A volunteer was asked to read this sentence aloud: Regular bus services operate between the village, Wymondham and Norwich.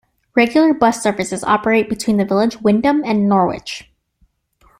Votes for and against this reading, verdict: 0, 2, rejected